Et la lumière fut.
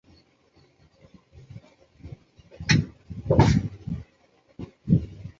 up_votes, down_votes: 0, 2